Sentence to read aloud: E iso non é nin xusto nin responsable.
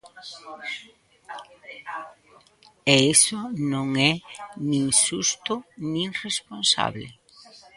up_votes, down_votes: 1, 2